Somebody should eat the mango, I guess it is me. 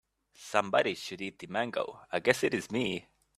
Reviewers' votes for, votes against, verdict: 2, 1, accepted